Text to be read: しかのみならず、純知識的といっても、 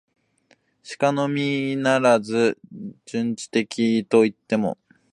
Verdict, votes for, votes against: accepted, 2, 0